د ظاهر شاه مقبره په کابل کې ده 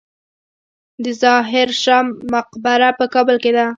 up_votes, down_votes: 0, 2